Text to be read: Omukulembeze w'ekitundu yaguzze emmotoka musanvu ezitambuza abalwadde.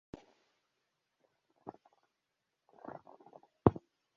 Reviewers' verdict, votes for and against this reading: rejected, 0, 2